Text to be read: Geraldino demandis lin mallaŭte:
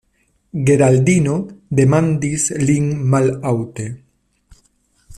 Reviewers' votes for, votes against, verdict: 0, 2, rejected